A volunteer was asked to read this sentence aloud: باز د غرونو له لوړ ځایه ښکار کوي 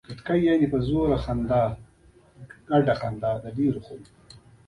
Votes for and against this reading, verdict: 1, 2, rejected